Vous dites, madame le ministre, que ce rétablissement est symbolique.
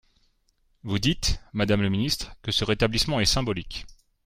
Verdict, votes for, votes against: accepted, 2, 0